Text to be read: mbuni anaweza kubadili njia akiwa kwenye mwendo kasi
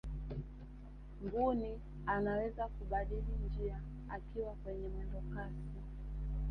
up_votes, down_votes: 2, 1